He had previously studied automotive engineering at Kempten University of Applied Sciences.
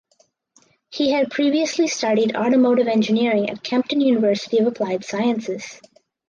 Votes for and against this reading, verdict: 4, 0, accepted